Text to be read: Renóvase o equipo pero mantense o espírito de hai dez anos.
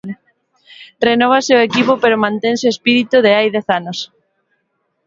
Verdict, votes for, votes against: accepted, 2, 0